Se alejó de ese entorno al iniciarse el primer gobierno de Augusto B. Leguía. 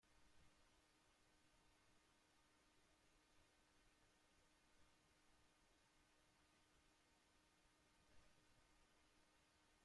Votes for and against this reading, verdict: 0, 2, rejected